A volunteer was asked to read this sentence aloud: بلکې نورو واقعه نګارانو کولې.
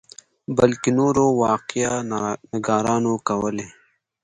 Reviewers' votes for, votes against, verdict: 2, 0, accepted